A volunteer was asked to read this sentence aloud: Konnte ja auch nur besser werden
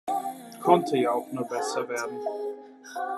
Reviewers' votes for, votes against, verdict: 1, 2, rejected